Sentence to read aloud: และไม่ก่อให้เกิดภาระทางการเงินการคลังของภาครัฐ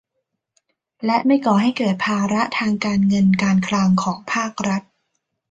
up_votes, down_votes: 2, 0